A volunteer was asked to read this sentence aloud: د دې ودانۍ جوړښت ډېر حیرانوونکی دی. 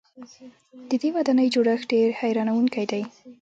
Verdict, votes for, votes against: rejected, 1, 2